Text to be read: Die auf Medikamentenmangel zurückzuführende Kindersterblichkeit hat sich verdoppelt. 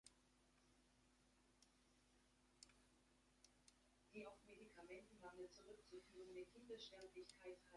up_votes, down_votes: 0, 2